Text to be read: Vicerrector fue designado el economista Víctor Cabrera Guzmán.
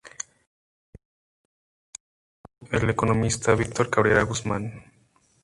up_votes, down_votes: 0, 2